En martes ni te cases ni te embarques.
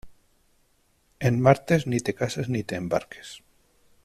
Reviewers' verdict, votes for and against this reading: accepted, 2, 0